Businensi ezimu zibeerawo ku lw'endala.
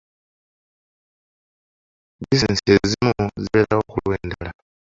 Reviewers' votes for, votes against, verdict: 1, 2, rejected